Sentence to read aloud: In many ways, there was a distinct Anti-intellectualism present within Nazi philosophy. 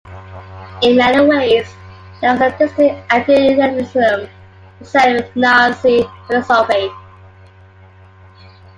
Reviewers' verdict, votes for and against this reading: rejected, 0, 2